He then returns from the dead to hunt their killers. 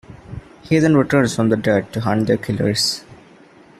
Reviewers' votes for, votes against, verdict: 2, 1, accepted